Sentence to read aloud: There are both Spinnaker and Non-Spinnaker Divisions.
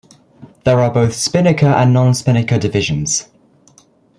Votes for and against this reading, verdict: 2, 0, accepted